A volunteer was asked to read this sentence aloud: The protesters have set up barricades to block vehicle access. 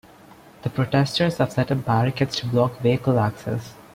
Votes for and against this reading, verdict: 2, 0, accepted